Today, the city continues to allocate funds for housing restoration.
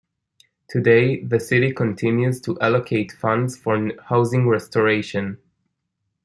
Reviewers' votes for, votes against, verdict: 2, 1, accepted